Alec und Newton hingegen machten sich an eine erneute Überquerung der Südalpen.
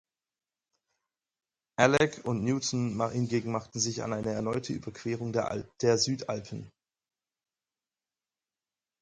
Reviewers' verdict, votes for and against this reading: rejected, 0, 4